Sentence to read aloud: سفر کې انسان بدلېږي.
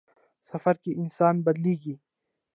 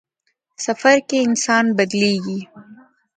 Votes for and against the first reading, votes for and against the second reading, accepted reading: 0, 2, 2, 1, second